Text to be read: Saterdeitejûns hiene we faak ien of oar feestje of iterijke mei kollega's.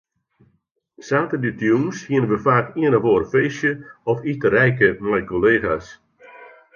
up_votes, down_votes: 2, 1